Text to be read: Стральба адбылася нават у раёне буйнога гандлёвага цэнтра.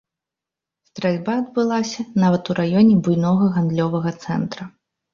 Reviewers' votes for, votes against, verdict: 2, 0, accepted